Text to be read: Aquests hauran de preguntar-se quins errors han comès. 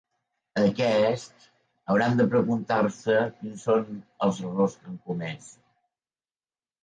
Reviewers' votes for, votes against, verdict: 1, 2, rejected